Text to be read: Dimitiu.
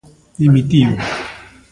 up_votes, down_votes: 2, 1